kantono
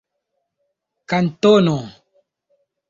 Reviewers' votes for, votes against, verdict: 3, 0, accepted